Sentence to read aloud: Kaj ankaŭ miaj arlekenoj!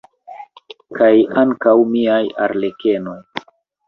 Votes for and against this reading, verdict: 2, 1, accepted